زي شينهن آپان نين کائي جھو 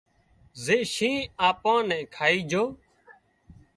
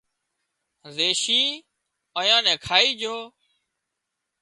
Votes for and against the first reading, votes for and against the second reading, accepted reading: 2, 0, 0, 2, first